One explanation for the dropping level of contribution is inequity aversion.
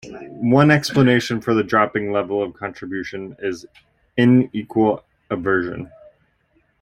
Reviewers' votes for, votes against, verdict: 0, 2, rejected